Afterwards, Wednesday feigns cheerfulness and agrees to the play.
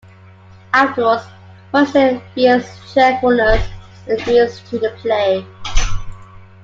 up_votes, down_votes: 0, 2